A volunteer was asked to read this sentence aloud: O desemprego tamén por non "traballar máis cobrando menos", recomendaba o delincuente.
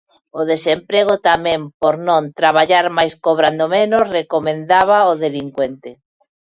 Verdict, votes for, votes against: accepted, 2, 0